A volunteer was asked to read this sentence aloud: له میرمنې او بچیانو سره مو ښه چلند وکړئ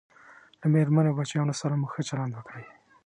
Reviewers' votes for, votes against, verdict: 2, 1, accepted